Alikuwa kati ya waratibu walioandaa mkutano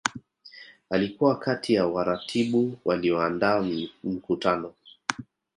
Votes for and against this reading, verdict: 1, 2, rejected